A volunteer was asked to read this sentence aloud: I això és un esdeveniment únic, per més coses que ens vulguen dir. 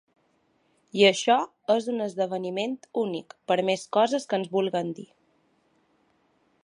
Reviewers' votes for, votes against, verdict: 2, 0, accepted